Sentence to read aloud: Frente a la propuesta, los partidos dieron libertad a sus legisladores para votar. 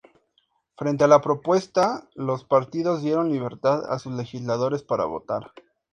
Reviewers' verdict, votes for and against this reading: accepted, 8, 0